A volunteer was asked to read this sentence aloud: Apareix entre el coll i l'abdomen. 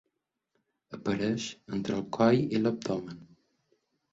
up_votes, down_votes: 0, 2